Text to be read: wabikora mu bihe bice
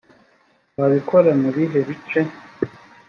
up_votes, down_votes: 2, 0